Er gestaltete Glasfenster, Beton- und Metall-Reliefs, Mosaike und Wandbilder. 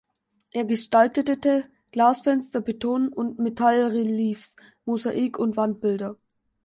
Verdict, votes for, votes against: rejected, 1, 2